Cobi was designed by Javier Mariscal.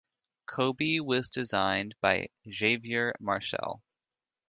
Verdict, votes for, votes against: rejected, 1, 2